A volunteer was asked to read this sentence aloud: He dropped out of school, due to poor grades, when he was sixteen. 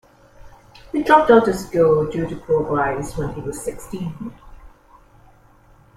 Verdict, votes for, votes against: accepted, 2, 0